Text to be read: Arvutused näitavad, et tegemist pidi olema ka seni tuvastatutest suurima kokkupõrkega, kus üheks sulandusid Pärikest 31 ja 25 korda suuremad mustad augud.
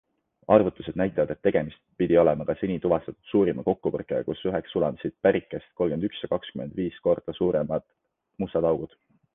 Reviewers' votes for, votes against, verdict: 0, 2, rejected